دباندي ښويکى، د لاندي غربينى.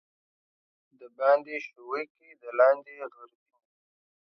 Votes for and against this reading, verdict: 2, 0, accepted